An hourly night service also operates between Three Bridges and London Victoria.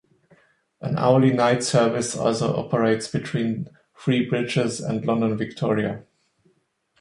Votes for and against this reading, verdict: 0, 2, rejected